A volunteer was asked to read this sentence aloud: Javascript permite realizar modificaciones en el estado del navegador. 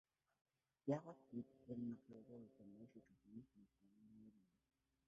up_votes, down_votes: 0, 2